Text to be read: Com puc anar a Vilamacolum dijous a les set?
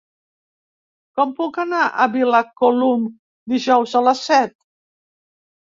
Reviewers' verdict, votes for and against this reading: rejected, 0, 2